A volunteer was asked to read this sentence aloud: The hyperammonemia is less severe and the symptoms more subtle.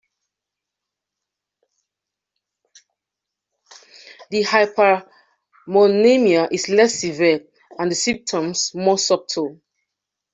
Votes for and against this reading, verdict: 0, 2, rejected